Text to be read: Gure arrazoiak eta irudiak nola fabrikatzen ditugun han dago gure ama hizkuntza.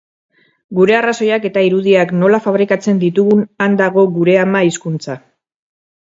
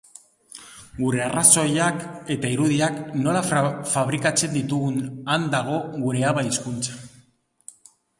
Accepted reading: first